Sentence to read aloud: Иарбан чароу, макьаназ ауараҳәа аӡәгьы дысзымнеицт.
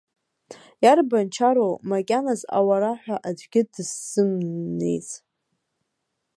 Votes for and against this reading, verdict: 0, 2, rejected